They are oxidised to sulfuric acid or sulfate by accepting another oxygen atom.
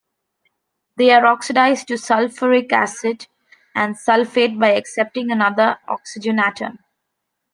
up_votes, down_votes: 0, 2